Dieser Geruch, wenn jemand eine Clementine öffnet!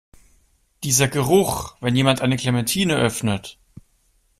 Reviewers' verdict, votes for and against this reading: accepted, 2, 0